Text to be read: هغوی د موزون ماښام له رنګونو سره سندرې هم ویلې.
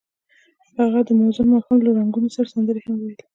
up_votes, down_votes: 1, 2